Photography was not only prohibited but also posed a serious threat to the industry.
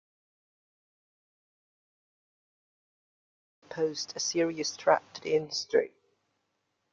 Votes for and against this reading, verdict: 0, 2, rejected